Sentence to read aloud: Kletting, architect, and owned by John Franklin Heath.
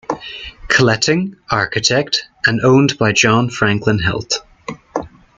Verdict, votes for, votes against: rejected, 0, 2